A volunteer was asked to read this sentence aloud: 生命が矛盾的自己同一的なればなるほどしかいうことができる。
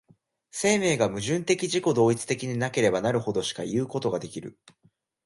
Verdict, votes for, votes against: accepted, 2, 1